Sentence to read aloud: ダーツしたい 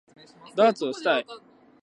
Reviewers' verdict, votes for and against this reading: rejected, 0, 2